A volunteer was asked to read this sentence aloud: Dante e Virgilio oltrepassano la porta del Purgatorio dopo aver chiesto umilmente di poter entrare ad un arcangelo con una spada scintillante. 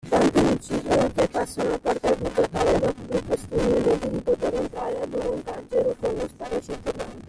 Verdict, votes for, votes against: rejected, 0, 2